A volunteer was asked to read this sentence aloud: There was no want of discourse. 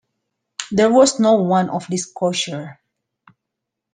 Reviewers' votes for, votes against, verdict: 0, 2, rejected